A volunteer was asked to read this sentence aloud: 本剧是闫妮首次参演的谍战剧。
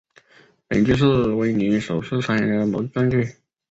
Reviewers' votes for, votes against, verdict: 0, 4, rejected